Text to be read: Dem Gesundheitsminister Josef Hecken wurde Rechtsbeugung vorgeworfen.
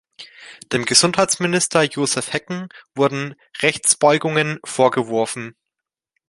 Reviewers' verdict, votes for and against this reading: rejected, 0, 2